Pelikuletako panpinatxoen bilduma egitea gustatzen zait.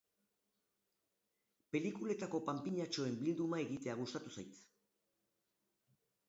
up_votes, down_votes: 0, 2